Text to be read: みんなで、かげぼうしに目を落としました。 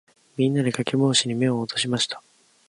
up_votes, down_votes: 2, 2